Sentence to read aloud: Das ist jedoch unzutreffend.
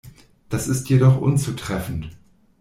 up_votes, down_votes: 2, 0